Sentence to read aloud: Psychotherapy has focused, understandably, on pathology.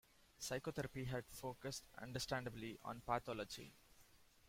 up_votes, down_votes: 2, 0